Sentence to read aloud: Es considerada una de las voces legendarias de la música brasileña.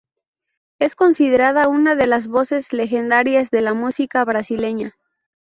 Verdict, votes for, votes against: accepted, 2, 0